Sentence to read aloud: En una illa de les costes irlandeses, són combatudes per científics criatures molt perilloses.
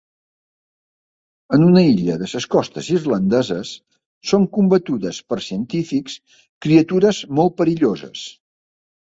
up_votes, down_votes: 2, 1